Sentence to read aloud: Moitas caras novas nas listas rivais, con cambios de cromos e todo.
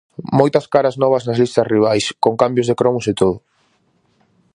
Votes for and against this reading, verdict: 4, 0, accepted